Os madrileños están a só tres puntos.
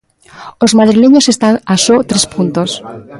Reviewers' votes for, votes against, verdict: 1, 2, rejected